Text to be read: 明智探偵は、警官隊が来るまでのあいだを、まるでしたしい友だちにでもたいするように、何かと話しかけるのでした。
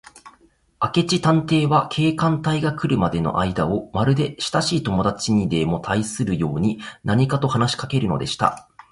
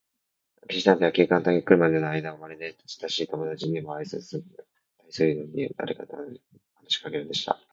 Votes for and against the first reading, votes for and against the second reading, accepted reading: 2, 0, 0, 2, first